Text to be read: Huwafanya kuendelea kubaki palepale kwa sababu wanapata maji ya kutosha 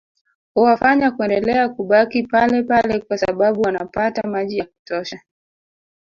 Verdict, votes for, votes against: accepted, 2, 0